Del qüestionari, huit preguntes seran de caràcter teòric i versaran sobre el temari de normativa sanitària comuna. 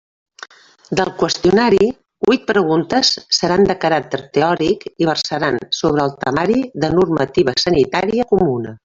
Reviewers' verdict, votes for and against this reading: rejected, 1, 2